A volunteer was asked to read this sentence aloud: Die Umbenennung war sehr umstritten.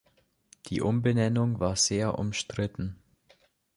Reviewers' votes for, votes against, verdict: 2, 1, accepted